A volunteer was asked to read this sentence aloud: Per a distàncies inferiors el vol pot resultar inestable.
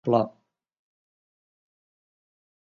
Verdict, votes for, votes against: rejected, 0, 5